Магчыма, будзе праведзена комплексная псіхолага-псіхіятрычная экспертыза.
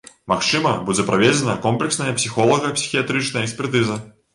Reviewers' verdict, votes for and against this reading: accepted, 2, 0